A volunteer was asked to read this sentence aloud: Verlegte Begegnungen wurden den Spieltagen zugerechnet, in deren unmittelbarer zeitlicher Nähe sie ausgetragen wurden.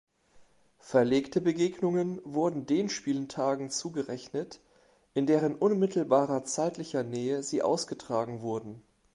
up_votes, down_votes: 2, 0